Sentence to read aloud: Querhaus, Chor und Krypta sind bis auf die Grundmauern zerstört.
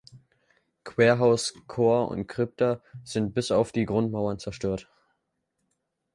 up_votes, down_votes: 2, 0